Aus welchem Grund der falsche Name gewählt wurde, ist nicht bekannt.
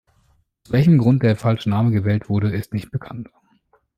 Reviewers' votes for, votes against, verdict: 0, 2, rejected